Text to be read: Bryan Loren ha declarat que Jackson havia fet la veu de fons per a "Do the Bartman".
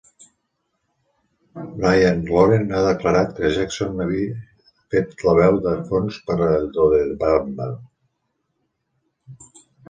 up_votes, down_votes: 1, 2